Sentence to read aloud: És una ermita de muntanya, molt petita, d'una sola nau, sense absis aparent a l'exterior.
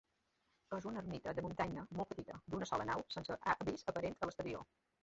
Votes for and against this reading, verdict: 0, 2, rejected